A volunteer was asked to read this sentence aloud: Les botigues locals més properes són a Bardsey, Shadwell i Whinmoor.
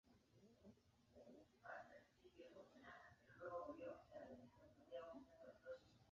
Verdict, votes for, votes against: rejected, 0, 2